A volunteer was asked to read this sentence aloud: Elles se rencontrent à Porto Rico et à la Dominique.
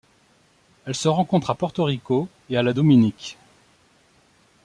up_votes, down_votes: 2, 0